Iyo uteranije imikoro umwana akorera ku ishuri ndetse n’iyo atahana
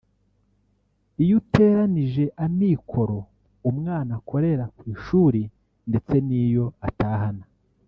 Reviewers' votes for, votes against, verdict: 1, 2, rejected